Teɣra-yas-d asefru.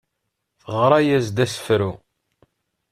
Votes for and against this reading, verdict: 2, 0, accepted